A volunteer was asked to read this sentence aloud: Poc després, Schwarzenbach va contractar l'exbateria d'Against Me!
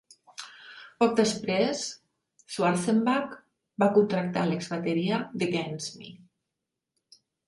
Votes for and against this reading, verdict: 5, 1, accepted